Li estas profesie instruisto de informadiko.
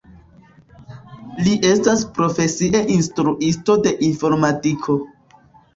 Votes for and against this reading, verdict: 2, 1, accepted